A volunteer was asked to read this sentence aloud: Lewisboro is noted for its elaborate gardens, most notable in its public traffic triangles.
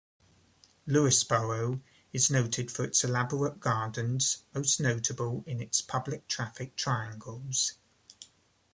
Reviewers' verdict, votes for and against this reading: accepted, 2, 0